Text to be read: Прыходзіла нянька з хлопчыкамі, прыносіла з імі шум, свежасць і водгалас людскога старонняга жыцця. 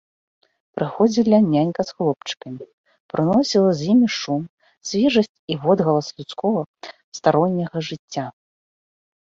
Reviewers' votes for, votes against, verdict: 2, 0, accepted